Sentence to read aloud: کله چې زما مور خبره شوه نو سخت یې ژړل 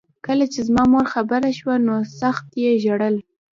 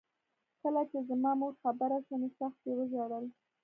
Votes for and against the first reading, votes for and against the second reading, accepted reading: 1, 2, 2, 0, second